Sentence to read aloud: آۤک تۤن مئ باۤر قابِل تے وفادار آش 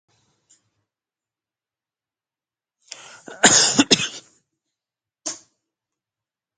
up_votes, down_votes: 0, 2